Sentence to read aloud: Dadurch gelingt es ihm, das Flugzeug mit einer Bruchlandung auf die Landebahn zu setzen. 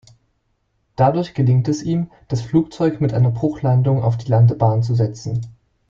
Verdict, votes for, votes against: accepted, 2, 0